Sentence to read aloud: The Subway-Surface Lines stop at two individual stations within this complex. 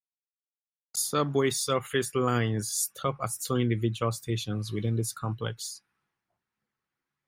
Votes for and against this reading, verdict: 2, 0, accepted